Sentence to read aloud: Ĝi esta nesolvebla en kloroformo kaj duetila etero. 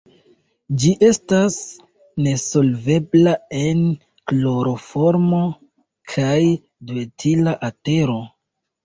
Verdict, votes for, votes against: rejected, 0, 2